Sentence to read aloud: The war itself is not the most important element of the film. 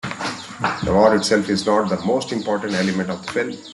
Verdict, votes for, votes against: rejected, 0, 2